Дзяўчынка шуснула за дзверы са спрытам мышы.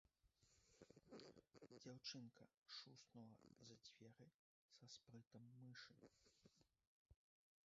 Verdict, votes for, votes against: rejected, 1, 2